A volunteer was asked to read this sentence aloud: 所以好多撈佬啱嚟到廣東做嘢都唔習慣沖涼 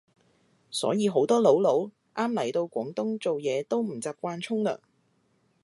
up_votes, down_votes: 0, 2